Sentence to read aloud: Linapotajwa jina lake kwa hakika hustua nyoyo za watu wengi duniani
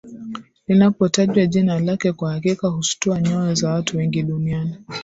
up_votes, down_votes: 7, 0